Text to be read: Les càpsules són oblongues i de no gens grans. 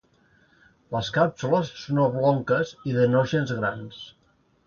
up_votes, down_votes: 0, 2